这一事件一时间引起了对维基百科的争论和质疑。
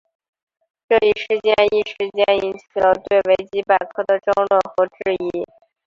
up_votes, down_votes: 3, 1